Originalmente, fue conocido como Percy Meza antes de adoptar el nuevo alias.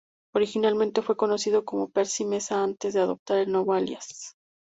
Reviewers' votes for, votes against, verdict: 2, 0, accepted